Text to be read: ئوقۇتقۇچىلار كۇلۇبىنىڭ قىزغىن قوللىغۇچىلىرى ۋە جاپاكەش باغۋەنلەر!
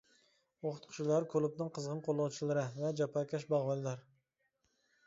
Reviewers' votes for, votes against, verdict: 0, 2, rejected